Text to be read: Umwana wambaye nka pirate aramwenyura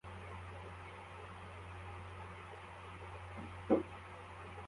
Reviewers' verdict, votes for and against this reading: rejected, 1, 2